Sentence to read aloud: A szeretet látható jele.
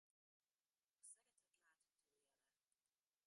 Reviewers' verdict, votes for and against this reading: rejected, 0, 2